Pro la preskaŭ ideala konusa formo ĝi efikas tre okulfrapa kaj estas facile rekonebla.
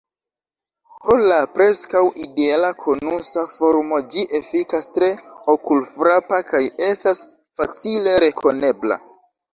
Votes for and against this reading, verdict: 2, 0, accepted